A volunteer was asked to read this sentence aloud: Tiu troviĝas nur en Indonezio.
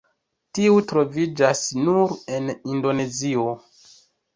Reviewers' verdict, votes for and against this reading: accepted, 2, 0